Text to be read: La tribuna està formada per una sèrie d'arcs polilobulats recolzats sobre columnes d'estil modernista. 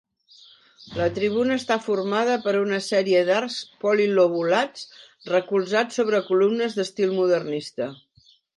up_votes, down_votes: 2, 0